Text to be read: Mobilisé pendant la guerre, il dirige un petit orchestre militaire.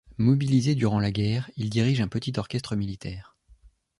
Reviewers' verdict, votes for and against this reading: rejected, 1, 2